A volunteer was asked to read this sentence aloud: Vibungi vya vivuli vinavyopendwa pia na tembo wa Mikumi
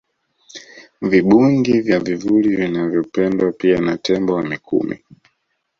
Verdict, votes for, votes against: accepted, 2, 0